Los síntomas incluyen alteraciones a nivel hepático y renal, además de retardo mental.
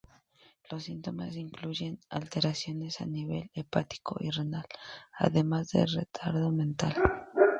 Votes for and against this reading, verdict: 2, 0, accepted